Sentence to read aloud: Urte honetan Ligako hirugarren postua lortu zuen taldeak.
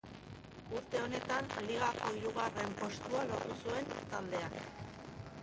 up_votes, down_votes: 0, 2